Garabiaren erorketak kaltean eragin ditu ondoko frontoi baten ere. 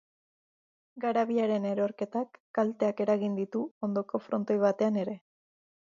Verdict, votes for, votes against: rejected, 1, 3